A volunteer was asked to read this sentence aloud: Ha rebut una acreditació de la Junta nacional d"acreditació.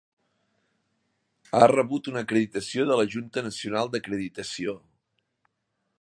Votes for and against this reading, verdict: 2, 1, accepted